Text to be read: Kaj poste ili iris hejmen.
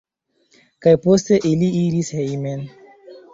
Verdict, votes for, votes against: rejected, 0, 2